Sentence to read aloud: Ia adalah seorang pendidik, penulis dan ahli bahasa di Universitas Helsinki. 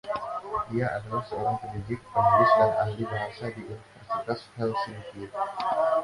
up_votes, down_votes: 0, 2